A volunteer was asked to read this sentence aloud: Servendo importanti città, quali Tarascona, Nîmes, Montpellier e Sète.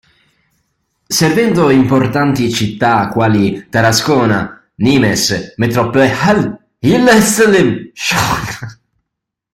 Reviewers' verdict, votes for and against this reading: rejected, 0, 2